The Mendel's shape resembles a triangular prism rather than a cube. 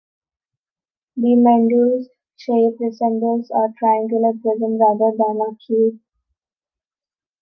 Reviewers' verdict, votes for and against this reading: accepted, 2, 0